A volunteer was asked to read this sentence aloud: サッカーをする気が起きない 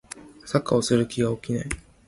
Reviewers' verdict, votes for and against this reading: rejected, 1, 2